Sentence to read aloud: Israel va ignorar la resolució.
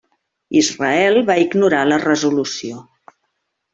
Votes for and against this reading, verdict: 3, 0, accepted